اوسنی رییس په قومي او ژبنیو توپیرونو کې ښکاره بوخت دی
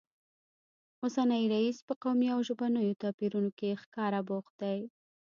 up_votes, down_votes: 2, 0